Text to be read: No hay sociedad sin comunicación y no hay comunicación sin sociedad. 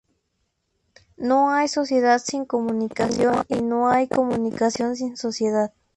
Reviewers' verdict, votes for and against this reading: accepted, 2, 0